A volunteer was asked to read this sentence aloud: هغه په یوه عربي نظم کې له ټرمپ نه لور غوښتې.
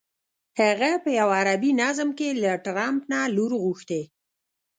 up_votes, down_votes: 1, 2